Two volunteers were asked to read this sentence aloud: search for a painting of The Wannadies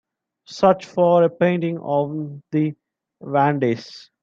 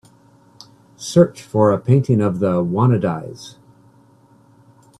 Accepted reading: second